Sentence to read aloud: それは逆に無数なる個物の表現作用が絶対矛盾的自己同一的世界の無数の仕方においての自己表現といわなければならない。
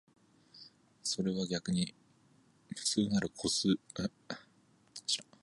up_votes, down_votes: 1, 2